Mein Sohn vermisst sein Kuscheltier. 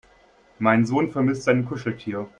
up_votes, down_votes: 3, 0